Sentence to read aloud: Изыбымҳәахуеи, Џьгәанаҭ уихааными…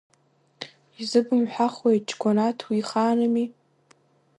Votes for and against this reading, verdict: 0, 2, rejected